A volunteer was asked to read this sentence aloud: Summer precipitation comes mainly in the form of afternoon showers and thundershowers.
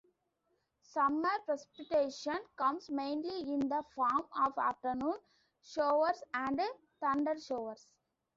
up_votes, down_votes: 2, 0